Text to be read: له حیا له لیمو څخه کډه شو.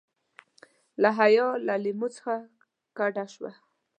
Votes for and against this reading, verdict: 2, 0, accepted